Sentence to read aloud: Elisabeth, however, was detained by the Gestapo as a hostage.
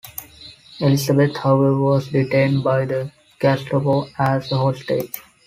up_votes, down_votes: 3, 1